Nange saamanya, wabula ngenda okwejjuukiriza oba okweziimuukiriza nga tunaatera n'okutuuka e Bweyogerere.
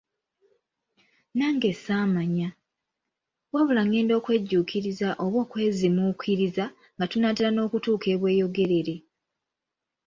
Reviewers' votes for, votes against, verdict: 2, 0, accepted